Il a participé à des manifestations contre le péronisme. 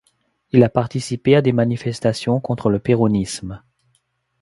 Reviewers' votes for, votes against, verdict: 2, 1, accepted